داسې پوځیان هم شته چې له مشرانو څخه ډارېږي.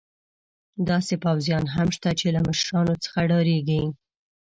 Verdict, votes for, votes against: accepted, 2, 0